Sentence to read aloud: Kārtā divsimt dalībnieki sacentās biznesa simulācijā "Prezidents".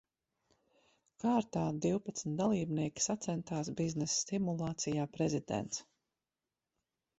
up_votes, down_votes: 0, 2